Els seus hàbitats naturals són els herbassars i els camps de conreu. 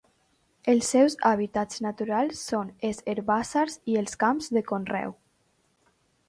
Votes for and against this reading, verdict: 1, 2, rejected